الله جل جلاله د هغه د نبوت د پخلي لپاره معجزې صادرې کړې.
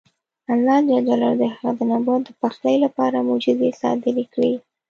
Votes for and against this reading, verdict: 1, 2, rejected